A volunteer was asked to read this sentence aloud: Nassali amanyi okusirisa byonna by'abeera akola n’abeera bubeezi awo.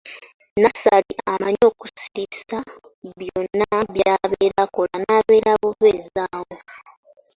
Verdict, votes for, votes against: rejected, 1, 2